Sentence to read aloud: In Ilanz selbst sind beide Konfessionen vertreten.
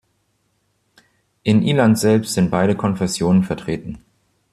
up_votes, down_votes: 2, 0